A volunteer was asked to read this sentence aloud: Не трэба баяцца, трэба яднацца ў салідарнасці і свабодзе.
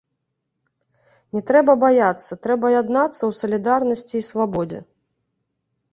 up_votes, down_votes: 2, 0